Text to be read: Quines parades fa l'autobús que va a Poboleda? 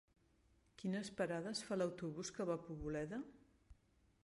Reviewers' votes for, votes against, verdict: 3, 1, accepted